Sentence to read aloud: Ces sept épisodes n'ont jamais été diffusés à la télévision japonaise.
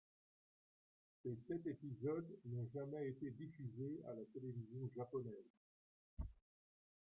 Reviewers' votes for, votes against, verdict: 0, 2, rejected